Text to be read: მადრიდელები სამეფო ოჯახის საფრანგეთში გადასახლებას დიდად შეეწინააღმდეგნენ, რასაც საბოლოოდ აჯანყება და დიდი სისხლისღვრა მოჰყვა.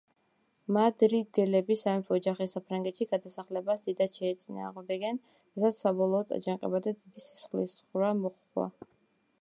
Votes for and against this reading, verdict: 1, 2, rejected